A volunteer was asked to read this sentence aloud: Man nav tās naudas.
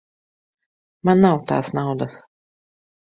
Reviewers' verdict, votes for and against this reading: accepted, 2, 1